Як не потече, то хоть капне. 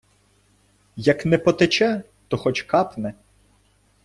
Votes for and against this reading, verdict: 1, 2, rejected